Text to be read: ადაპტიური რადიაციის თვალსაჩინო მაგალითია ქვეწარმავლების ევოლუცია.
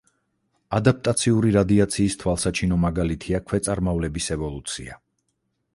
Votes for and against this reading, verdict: 0, 4, rejected